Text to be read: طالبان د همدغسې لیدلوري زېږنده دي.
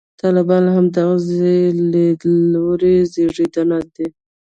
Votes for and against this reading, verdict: 0, 2, rejected